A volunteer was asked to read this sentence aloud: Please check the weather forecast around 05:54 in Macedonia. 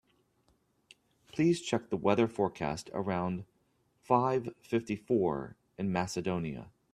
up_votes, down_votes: 0, 2